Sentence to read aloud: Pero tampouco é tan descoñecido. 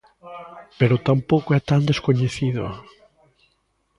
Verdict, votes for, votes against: rejected, 1, 2